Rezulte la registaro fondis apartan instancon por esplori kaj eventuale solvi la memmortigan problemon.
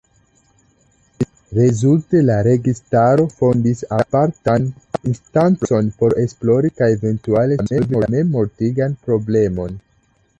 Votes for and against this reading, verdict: 0, 2, rejected